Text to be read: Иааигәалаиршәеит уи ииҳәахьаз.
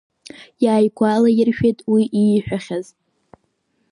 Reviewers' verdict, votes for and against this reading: accepted, 3, 1